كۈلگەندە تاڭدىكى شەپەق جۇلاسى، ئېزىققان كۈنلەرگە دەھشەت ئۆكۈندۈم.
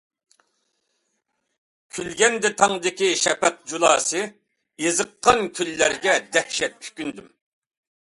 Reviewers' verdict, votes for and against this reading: accepted, 2, 0